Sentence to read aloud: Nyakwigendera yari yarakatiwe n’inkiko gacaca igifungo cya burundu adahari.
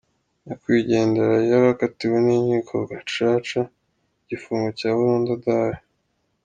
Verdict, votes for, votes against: accepted, 2, 0